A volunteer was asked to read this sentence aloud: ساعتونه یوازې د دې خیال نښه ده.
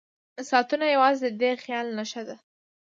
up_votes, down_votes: 0, 2